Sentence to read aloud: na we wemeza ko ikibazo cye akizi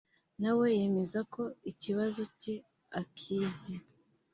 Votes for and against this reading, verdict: 0, 2, rejected